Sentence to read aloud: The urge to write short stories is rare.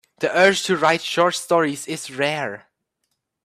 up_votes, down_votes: 2, 0